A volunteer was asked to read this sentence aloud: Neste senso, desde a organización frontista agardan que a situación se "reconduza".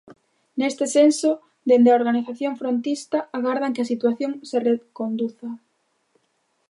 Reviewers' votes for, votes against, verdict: 0, 2, rejected